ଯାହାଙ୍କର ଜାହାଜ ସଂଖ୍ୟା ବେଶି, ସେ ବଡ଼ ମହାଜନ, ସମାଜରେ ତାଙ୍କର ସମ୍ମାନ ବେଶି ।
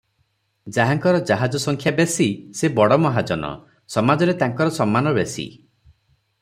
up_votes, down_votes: 3, 0